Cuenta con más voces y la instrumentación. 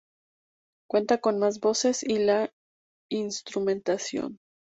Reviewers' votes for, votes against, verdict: 2, 0, accepted